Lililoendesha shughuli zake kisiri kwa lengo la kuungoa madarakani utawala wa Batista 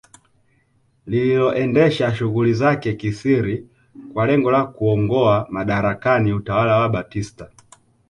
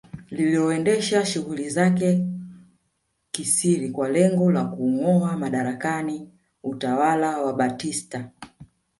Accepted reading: first